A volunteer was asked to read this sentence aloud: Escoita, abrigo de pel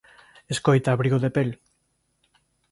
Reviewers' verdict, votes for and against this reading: accepted, 2, 0